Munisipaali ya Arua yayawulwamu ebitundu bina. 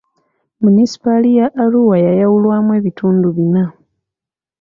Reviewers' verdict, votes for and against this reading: accepted, 2, 0